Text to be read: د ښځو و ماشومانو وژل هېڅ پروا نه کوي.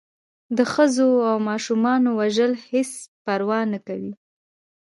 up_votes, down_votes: 1, 2